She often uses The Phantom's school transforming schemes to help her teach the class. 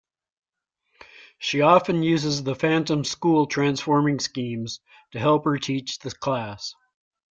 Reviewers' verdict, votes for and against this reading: accepted, 2, 0